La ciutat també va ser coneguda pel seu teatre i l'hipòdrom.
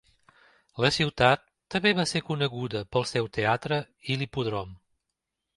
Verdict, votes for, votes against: rejected, 0, 2